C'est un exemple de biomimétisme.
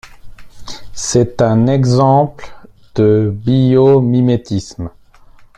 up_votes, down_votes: 2, 1